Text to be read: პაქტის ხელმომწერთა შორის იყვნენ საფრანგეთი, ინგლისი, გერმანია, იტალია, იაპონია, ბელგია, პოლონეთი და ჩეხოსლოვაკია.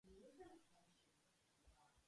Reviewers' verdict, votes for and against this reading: rejected, 0, 2